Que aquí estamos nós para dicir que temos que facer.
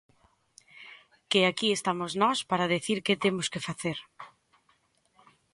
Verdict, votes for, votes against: rejected, 0, 4